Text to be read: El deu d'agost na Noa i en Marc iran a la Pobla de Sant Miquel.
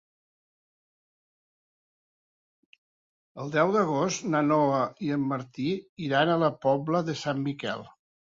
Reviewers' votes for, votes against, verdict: 0, 2, rejected